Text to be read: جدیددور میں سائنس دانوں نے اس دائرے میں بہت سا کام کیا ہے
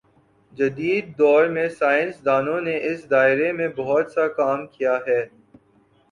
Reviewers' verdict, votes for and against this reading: accepted, 3, 1